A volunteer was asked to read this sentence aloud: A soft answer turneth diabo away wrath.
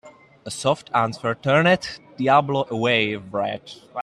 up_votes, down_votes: 0, 2